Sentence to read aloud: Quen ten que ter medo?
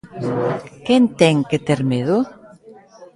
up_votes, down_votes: 1, 2